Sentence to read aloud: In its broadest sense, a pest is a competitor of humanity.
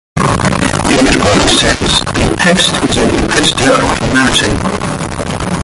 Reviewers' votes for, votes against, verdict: 0, 2, rejected